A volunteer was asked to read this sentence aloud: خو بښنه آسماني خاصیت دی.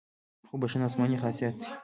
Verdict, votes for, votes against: accepted, 2, 0